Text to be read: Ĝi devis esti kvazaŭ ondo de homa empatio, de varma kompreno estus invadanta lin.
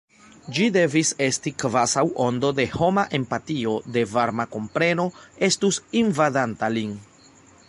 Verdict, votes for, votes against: accepted, 2, 0